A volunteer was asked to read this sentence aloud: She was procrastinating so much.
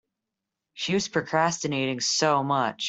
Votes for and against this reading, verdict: 2, 0, accepted